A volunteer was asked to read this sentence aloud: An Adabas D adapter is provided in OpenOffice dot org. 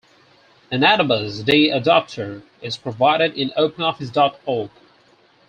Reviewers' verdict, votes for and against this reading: rejected, 2, 4